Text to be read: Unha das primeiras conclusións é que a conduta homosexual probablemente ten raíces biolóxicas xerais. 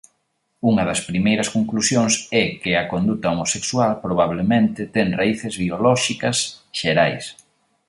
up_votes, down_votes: 2, 0